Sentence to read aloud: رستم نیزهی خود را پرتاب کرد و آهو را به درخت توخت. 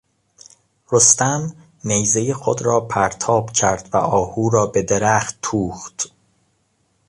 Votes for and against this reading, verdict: 2, 0, accepted